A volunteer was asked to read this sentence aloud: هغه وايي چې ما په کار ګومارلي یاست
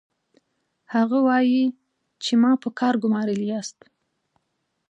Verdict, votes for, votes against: accepted, 2, 0